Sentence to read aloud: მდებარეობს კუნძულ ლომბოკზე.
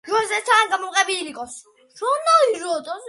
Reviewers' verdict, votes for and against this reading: rejected, 0, 2